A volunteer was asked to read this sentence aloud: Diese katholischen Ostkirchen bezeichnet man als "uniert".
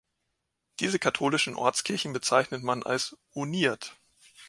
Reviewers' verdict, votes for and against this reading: accepted, 2, 0